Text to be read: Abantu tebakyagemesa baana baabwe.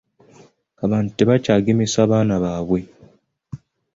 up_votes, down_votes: 2, 0